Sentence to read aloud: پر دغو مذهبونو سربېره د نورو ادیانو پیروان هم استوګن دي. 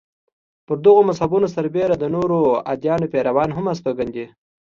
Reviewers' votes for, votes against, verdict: 2, 0, accepted